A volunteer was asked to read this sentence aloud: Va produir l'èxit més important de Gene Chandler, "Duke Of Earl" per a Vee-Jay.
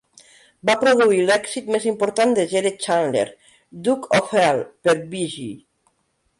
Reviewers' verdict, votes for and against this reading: rejected, 0, 2